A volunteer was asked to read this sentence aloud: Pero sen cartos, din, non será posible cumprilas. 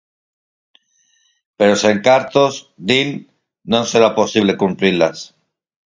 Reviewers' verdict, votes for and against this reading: rejected, 2, 4